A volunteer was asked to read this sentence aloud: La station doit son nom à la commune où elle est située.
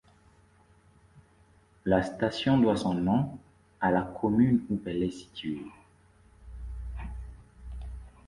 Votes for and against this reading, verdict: 2, 0, accepted